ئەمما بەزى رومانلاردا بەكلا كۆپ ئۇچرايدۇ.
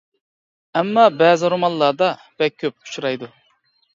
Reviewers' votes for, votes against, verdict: 1, 2, rejected